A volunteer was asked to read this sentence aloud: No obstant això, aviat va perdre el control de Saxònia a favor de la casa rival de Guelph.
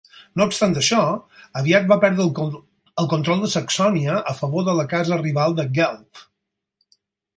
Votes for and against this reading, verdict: 2, 4, rejected